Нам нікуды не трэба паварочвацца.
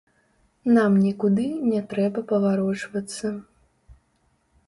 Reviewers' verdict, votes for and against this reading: rejected, 1, 2